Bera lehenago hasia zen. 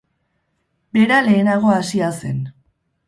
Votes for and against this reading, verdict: 2, 0, accepted